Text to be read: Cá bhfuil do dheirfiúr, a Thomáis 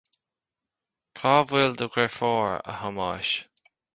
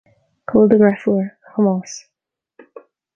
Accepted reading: first